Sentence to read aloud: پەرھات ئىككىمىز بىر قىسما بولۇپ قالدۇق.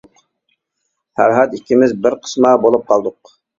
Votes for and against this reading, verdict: 2, 0, accepted